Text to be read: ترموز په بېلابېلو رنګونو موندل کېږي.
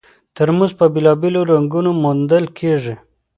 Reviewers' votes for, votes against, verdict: 1, 2, rejected